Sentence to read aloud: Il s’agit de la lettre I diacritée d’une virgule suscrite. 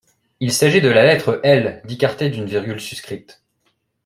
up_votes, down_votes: 0, 2